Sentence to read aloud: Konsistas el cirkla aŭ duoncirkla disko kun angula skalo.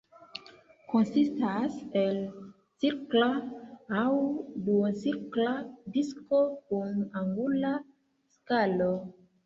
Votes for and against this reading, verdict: 2, 1, accepted